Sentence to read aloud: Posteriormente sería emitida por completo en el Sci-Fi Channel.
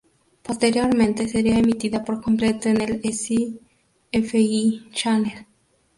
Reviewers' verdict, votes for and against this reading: rejected, 0, 2